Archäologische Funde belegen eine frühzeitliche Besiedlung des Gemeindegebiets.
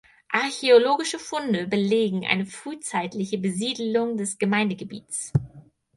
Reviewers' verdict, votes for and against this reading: accepted, 4, 0